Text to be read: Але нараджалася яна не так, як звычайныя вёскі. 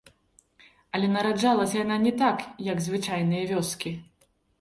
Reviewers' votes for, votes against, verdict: 2, 0, accepted